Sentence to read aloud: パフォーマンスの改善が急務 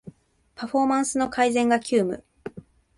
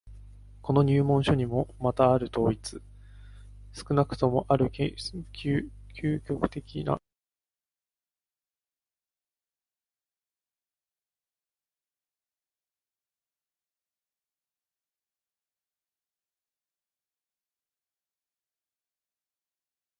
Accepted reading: first